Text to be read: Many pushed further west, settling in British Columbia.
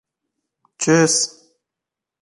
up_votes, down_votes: 0, 2